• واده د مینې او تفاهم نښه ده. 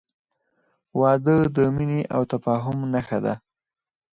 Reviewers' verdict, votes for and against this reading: rejected, 0, 4